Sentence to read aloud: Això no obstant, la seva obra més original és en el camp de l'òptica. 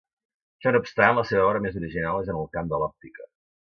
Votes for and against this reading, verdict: 1, 2, rejected